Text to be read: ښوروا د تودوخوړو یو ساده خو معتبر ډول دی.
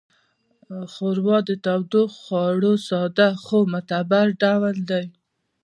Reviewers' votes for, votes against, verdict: 1, 2, rejected